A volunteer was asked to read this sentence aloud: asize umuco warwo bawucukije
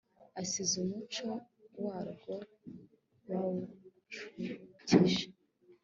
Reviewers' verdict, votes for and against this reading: accepted, 2, 1